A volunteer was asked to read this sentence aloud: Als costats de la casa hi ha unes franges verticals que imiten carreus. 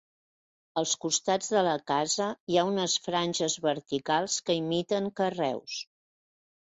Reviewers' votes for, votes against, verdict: 3, 0, accepted